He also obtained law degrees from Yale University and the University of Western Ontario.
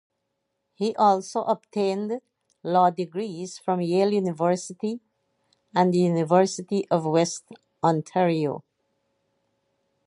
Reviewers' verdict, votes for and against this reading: accepted, 4, 0